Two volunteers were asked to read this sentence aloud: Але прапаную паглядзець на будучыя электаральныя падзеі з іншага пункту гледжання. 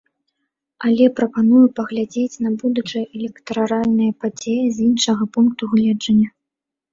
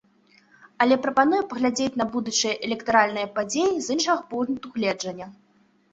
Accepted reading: second